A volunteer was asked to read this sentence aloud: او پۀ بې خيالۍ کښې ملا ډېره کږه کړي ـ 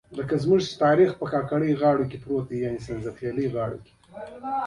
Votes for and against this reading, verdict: 2, 1, accepted